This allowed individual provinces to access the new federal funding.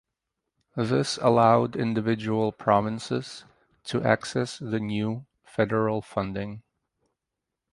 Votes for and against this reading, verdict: 2, 0, accepted